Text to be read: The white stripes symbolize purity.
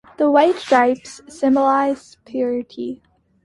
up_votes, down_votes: 2, 0